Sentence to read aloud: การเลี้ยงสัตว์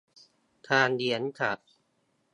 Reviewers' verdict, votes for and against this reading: accepted, 2, 0